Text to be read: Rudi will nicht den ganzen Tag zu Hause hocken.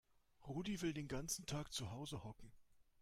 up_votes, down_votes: 1, 2